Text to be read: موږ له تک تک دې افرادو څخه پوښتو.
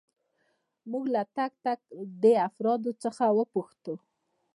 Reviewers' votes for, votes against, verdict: 1, 2, rejected